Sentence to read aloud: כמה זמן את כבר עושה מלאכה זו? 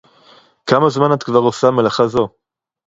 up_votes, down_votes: 4, 0